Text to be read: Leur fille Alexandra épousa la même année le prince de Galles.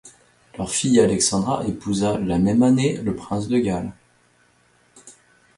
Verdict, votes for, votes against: accepted, 2, 0